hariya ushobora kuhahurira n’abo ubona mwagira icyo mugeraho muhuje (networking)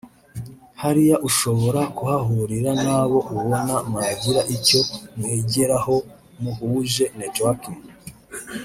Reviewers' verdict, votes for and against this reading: rejected, 0, 2